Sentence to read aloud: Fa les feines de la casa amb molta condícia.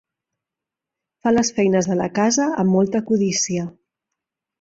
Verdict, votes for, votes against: rejected, 1, 2